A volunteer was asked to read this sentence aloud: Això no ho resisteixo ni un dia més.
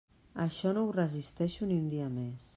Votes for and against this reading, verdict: 3, 0, accepted